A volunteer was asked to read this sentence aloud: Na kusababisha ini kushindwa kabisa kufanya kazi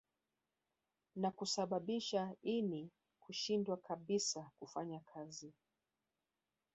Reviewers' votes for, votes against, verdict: 3, 1, accepted